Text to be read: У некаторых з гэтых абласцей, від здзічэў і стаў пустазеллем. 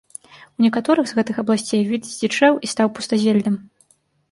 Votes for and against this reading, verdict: 1, 2, rejected